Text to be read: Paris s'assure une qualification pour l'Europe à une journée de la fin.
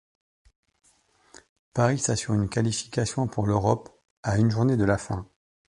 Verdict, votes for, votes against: accepted, 2, 1